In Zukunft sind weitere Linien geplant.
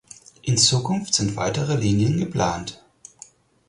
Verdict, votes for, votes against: accepted, 4, 0